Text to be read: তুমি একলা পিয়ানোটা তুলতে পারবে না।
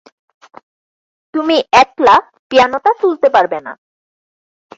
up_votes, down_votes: 4, 0